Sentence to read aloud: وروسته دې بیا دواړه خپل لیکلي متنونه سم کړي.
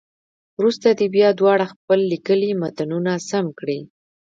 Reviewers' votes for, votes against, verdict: 0, 2, rejected